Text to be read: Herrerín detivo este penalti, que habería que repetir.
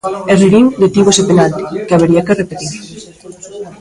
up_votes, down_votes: 0, 2